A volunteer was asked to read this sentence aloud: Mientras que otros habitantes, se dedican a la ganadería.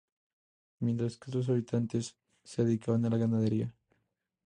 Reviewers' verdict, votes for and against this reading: accepted, 2, 0